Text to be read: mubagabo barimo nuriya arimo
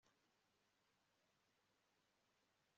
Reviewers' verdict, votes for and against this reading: accepted, 3, 2